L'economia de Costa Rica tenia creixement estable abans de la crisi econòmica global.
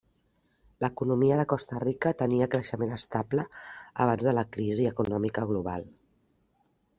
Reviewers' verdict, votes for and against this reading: accepted, 3, 0